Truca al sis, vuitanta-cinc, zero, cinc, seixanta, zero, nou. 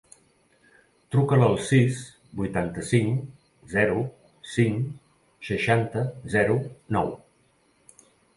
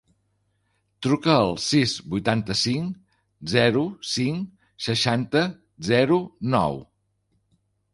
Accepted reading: second